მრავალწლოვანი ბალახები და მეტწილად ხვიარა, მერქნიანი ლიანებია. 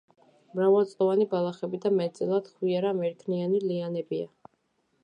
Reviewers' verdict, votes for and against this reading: accepted, 2, 0